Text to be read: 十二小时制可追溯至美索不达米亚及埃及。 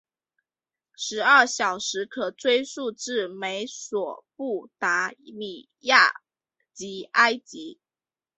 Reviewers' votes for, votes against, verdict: 3, 1, accepted